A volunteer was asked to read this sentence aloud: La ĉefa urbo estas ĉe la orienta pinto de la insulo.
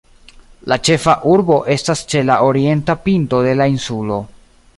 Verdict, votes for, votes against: rejected, 1, 2